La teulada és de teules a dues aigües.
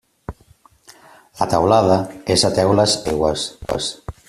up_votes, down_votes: 0, 2